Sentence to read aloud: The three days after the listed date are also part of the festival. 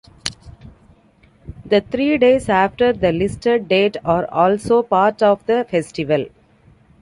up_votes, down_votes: 0, 2